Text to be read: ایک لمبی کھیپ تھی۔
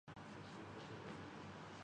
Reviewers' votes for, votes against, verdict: 5, 9, rejected